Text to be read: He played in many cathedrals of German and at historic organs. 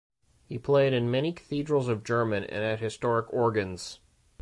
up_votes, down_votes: 2, 1